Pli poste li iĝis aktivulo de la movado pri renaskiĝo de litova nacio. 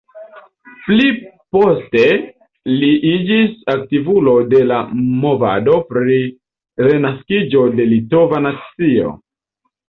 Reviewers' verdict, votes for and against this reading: rejected, 1, 2